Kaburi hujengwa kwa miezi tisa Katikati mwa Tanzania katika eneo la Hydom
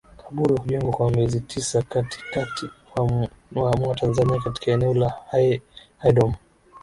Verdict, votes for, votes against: accepted, 2, 0